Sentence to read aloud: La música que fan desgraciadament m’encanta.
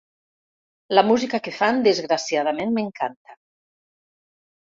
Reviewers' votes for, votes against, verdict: 3, 0, accepted